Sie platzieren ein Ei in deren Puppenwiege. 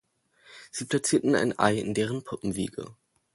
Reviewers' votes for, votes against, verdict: 0, 2, rejected